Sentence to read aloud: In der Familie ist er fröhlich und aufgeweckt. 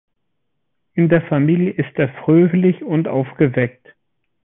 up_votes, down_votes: 2, 0